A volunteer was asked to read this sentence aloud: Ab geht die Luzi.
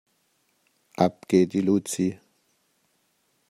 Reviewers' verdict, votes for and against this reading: accepted, 2, 0